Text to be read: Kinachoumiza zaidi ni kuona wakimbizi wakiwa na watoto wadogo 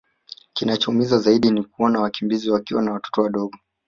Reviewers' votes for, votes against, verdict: 0, 2, rejected